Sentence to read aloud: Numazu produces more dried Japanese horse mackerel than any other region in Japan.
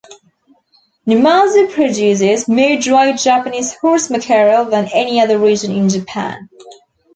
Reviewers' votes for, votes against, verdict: 2, 0, accepted